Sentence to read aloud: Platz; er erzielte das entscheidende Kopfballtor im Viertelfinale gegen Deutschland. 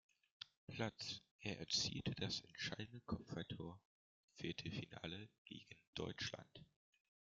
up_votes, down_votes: 2, 0